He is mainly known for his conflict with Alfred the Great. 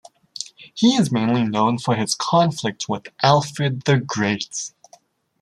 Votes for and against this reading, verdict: 2, 1, accepted